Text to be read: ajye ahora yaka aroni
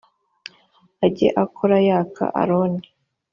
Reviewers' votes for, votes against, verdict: 2, 0, accepted